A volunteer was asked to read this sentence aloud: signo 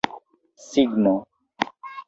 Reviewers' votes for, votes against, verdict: 2, 0, accepted